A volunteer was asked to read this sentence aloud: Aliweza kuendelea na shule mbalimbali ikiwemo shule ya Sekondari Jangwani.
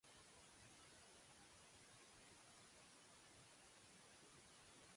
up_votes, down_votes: 1, 2